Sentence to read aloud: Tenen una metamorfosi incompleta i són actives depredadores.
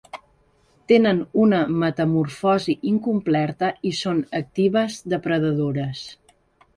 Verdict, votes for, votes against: rejected, 1, 2